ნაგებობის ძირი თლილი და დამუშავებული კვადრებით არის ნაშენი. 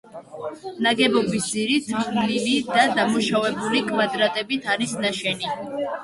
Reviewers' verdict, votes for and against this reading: rejected, 1, 2